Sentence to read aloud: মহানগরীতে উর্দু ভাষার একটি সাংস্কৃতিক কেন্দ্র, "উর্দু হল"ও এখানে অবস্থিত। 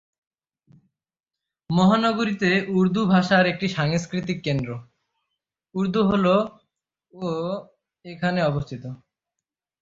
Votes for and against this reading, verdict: 3, 3, rejected